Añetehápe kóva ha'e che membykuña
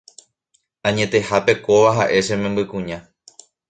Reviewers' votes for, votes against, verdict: 2, 0, accepted